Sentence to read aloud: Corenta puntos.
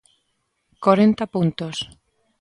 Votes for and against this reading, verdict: 2, 0, accepted